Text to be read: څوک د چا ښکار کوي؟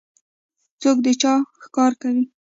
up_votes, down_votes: 2, 0